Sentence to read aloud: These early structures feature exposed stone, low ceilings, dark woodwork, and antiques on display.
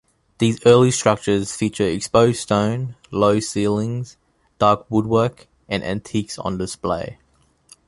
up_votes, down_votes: 2, 0